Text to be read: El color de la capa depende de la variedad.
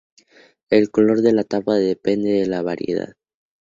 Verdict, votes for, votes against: accepted, 2, 0